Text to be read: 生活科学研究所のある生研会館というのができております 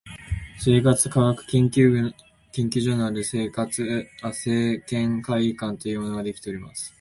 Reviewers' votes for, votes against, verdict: 1, 2, rejected